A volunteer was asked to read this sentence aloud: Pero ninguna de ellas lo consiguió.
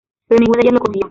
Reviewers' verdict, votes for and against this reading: rejected, 0, 2